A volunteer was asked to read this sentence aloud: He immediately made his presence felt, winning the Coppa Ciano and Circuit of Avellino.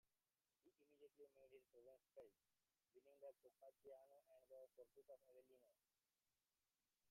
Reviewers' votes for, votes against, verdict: 0, 2, rejected